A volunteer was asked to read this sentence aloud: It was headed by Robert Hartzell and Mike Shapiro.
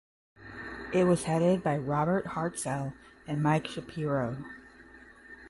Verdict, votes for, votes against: accepted, 10, 0